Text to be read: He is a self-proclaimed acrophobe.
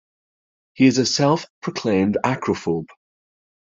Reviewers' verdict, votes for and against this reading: accepted, 2, 0